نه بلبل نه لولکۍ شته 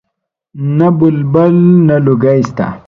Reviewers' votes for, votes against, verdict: 1, 2, rejected